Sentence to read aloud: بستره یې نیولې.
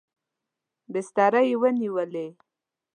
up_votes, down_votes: 1, 2